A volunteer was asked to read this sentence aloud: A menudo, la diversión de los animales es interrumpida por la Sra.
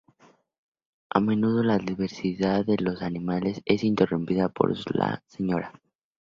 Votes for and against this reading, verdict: 0, 2, rejected